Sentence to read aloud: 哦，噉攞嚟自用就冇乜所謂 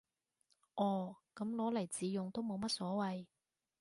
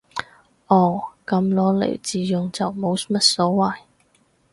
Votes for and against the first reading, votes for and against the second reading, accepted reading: 0, 2, 2, 0, second